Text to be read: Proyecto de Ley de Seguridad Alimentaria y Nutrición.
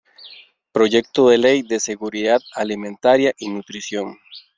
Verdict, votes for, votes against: accepted, 2, 0